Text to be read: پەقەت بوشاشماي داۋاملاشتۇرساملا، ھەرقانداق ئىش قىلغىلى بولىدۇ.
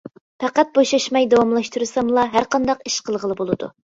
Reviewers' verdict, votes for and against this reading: accepted, 2, 0